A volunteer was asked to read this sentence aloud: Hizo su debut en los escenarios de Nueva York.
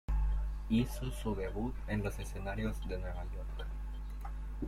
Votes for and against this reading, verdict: 0, 2, rejected